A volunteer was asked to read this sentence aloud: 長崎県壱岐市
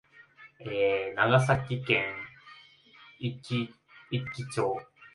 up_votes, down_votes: 0, 2